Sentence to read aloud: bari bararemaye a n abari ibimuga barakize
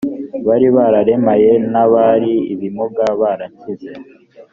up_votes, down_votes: 0, 2